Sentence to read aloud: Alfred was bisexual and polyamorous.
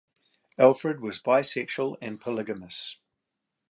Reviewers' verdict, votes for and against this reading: rejected, 0, 2